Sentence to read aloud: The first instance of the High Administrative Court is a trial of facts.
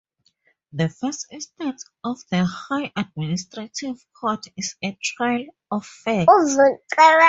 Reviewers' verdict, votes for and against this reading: rejected, 0, 2